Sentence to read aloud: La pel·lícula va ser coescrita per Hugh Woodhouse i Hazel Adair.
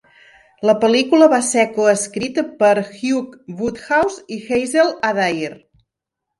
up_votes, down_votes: 1, 2